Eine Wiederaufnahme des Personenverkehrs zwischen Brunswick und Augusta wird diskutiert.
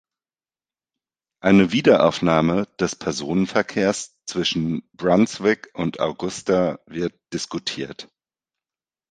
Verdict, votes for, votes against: accepted, 2, 0